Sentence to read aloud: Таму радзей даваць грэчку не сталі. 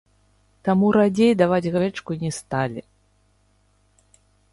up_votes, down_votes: 0, 2